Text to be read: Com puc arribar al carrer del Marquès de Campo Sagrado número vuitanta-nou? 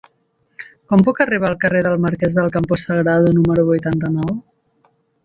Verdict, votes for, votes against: rejected, 0, 2